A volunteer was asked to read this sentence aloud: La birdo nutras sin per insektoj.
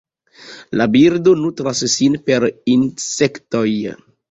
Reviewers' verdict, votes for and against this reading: accepted, 2, 0